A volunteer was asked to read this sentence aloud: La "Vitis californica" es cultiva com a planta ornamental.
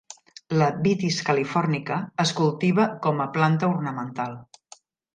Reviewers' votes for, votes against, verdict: 5, 0, accepted